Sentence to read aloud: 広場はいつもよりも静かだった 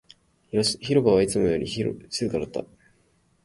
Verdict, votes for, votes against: rejected, 0, 2